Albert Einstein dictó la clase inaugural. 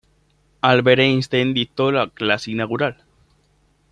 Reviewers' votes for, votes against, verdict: 1, 2, rejected